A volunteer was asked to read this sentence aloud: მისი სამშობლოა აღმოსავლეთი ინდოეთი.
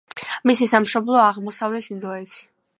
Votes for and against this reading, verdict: 2, 0, accepted